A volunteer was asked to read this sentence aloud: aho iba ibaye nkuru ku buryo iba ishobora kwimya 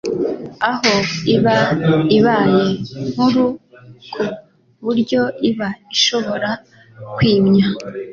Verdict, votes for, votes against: accepted, 2, 0